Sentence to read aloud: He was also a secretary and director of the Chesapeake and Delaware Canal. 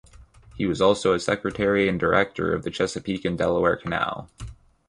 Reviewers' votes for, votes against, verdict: 2, 0, accepted